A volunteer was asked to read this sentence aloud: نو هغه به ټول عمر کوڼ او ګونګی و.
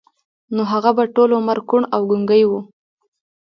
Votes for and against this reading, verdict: 1, 2, rejected